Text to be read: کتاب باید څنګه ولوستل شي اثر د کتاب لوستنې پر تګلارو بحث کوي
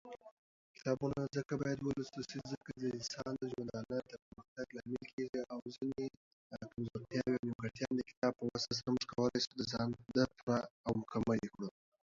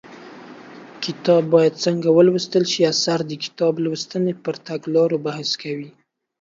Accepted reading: second